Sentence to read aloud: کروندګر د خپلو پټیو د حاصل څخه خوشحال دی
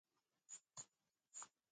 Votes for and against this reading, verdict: 2, 3, rejected